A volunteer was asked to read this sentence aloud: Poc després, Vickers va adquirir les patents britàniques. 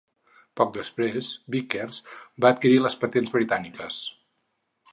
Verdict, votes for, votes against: accepted, 6, 0